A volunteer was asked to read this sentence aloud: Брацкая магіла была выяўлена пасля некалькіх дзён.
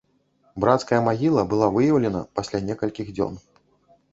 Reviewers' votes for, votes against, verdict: 2, 0, accepted